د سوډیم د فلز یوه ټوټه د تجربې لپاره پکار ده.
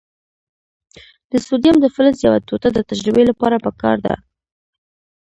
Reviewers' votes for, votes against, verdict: 1, 2, rejected